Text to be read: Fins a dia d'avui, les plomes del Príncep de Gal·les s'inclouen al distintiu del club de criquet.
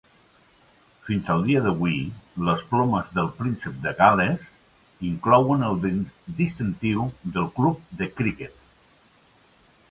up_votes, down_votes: 1, 2